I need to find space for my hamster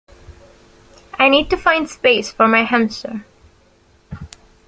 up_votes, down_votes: 2, 0